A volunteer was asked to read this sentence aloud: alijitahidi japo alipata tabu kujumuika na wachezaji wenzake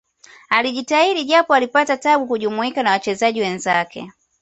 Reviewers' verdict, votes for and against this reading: accepted, 2, 0